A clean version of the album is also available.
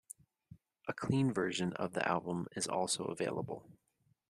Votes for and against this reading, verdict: 2, 0, accepted